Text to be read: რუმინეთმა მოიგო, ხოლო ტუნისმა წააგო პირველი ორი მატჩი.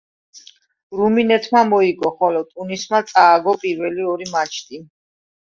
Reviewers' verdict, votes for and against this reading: rejected, 1, 2